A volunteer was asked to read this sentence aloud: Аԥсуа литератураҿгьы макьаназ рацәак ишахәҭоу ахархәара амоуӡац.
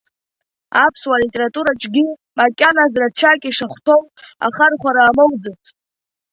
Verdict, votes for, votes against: rejected, 0, 2